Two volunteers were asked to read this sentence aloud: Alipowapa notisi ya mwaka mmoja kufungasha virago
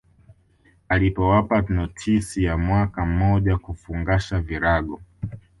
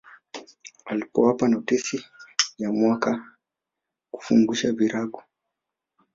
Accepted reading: first